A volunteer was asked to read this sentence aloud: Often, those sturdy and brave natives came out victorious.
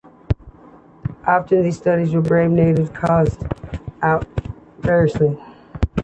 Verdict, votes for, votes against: rejected, 0, 2